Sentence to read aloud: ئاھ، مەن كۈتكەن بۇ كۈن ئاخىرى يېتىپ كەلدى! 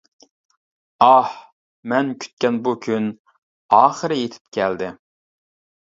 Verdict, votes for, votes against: accepted, 2, 0